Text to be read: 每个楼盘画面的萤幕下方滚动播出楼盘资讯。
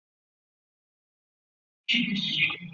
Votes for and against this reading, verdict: 0, 3, rejected